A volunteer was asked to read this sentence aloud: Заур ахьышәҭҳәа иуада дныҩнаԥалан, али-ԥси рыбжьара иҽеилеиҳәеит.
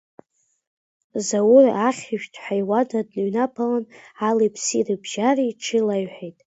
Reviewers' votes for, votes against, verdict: 1, 2, rejected